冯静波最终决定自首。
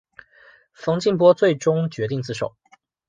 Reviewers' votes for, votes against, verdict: 2, 0, accepted